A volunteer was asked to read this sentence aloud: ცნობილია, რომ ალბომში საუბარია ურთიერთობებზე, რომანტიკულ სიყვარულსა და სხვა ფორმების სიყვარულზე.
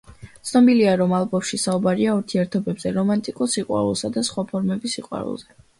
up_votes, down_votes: 2, 0